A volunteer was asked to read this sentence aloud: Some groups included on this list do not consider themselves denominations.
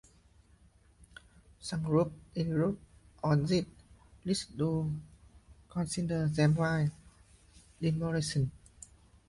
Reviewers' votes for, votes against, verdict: 0, 2, rejected